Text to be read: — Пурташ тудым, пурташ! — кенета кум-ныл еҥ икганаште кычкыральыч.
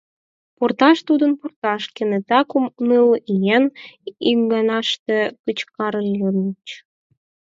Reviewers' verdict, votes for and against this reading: rejected, 2, 4